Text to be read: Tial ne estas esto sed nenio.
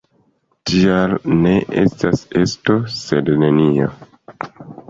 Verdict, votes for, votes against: accepted, 2, 0